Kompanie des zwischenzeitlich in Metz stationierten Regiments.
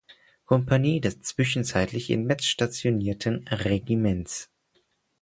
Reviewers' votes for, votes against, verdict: 4, 0, accepted